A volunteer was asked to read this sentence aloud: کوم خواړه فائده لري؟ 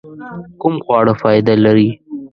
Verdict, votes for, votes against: accepted, 2, 0